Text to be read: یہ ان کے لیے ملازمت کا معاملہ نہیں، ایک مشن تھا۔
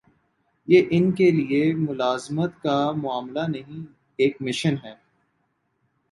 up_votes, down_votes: 5, 6